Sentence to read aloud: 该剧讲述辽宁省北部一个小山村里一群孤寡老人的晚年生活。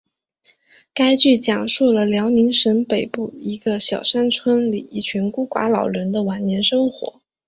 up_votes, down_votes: 4, 0